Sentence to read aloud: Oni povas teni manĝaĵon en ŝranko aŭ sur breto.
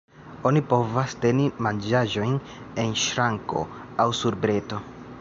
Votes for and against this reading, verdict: 1, 2, rejected